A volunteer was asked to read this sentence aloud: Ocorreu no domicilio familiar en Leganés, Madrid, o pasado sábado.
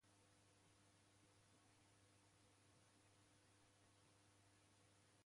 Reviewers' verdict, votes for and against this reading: rejected, 0, 2